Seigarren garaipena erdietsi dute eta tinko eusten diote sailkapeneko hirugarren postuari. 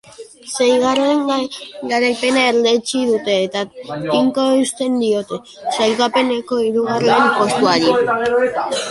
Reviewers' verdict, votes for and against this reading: rejected, 1, 3